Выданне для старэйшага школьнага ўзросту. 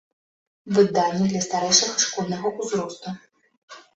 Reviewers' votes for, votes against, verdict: 2, 0, accepted